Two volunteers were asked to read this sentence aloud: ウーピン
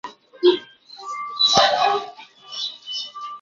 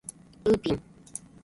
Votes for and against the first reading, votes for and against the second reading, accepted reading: 1, 2, 2, 1, second